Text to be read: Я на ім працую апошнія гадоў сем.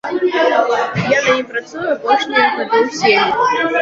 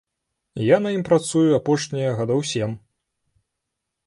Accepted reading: second